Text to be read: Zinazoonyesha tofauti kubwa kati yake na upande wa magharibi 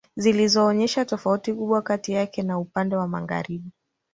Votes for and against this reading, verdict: 1, 2, rejected